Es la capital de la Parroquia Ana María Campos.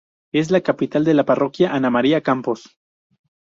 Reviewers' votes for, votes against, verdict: 4, 0, accepted